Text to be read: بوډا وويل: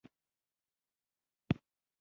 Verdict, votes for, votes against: rejected, 1, 2